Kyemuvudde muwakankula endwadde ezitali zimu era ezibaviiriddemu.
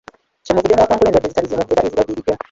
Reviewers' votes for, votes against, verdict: 0, 2, rejected